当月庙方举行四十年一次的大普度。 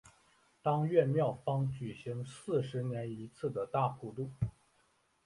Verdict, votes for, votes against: accepted, 3, 1